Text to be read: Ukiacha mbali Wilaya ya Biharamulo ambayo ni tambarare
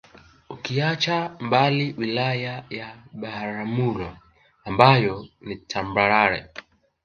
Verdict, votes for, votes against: rejected, 1, 2